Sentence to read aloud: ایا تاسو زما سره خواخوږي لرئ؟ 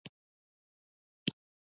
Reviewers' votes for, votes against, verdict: 0, 2, rejected